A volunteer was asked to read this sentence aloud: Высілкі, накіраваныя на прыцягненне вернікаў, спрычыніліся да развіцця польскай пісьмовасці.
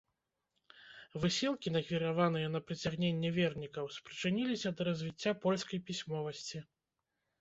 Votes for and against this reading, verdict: 1, 2, rejected